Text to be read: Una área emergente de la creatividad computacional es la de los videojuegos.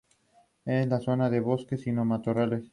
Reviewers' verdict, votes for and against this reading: rejected, 0, 4